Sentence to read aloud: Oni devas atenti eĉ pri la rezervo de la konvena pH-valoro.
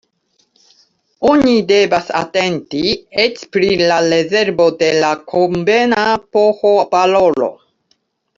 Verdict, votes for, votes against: accepted, 2, 1